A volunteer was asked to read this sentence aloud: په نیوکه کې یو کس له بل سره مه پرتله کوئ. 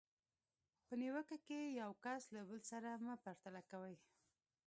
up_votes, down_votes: 2, 0